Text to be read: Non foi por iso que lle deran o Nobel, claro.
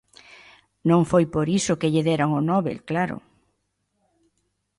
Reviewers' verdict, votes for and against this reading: accepted, 2, 0